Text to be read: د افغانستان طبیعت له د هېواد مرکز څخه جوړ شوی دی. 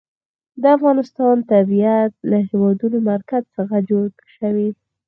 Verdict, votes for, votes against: rejected, 2, 4